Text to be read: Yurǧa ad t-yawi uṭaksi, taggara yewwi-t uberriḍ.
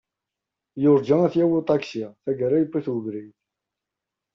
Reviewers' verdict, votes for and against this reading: rejected, 0, 2